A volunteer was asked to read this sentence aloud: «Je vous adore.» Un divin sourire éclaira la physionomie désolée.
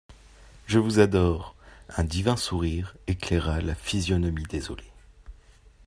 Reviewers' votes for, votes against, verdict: 2, 0, accepted